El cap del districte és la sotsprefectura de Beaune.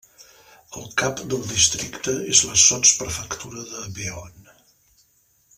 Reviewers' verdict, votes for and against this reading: rejected, 0, 2